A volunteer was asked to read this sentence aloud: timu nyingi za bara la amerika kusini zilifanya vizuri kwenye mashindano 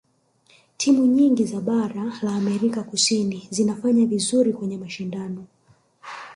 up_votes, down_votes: 1, 2